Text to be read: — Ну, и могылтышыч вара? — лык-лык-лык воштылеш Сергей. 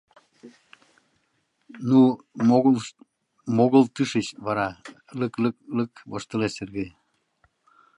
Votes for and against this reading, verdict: 0, 2, rejected